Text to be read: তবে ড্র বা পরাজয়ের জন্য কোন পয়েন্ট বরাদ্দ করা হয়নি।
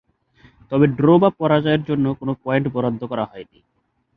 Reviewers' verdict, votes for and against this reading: accepted, 2, 0